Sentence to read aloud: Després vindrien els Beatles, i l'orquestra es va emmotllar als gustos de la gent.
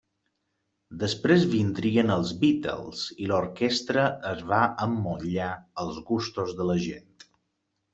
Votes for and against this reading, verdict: 3, 0, accepted